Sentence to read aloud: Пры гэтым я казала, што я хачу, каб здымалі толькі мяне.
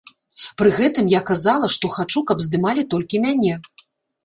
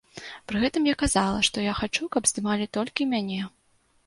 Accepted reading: second